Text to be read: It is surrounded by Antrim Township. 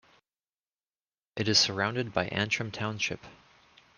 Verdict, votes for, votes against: accepted, 2, 0